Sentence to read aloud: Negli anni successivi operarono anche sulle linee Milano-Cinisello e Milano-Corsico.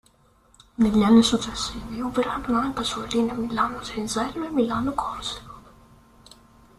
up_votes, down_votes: 1, 2